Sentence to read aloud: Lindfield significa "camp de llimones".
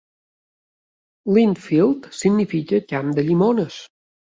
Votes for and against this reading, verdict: 4, 0, accepted